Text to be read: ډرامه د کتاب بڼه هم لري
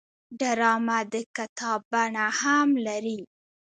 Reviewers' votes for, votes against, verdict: 1, 2, rejected